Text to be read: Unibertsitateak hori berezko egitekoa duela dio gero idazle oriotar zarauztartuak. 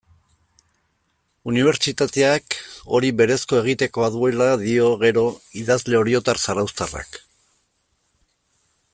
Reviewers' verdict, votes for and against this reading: rejected, 0, 2